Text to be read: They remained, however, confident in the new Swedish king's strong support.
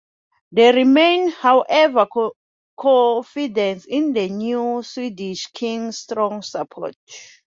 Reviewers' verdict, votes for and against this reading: rejected, 1, 2